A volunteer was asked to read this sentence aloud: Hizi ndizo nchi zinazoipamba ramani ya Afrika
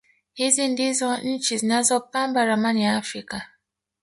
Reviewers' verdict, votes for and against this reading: rejected, 1, 2